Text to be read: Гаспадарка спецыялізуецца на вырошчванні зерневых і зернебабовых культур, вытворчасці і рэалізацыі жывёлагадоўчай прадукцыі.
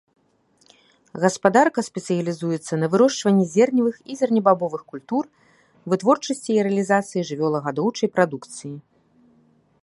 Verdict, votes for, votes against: accepted, 2, 0